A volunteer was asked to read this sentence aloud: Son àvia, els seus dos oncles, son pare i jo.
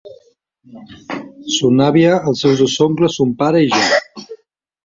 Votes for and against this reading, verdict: 2, 1, accepted